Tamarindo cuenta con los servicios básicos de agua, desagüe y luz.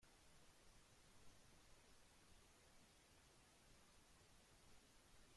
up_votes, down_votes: 0, 2